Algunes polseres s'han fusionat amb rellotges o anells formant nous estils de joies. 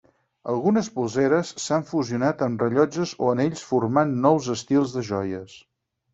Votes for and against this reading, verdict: 4, 0, accepted